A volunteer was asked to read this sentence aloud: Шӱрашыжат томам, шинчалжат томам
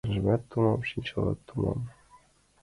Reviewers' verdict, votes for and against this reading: rejected, 0, 2